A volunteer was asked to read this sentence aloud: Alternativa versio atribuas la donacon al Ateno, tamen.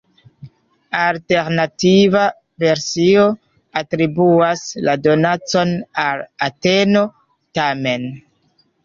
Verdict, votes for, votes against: rejected, 0, 2